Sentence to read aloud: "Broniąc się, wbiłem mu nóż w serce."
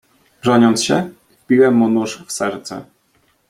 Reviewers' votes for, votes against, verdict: 2, 0, accepted